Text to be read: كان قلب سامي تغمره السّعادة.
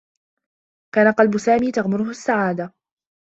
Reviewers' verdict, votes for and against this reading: accepted, 2, 0